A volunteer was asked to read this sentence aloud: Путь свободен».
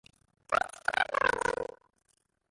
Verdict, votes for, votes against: rejected, 0, 2